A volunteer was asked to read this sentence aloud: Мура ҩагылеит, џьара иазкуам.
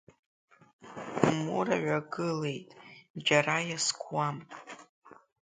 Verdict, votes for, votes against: accepted, 2, 1